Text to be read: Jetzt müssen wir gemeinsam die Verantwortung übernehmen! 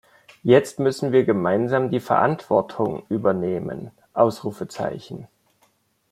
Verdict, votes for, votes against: accepted, 2, 1